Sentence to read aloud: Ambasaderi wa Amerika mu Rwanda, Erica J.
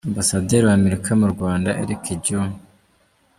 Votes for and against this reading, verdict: 2, 0, accepted